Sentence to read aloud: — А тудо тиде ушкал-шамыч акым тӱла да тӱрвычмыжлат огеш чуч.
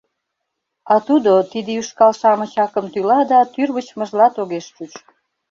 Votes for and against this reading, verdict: 1, 2, rejected